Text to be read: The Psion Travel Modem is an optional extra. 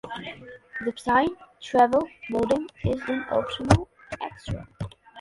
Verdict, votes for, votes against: accepted, 2, 0